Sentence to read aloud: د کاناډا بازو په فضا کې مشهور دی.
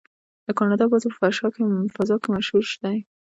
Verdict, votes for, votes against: accepted, 2, 1